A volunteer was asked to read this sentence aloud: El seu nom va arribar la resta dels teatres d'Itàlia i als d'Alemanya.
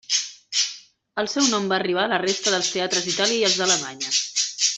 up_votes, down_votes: 1, 2